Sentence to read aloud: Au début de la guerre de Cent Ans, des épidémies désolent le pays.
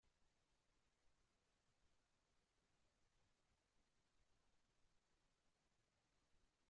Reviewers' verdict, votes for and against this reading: rejected, 0, 2